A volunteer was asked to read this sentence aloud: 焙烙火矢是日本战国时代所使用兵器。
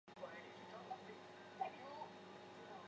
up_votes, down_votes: 3, 2